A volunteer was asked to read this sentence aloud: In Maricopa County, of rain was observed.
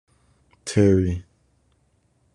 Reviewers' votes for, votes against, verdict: 0, 2, rejected